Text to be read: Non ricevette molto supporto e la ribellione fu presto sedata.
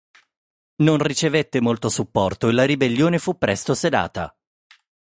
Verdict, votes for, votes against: accepted, 4, 0